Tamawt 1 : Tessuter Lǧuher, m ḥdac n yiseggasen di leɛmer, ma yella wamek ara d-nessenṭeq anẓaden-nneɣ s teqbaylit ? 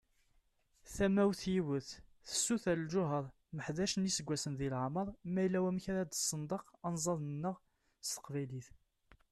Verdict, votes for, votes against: rejected, 0, 2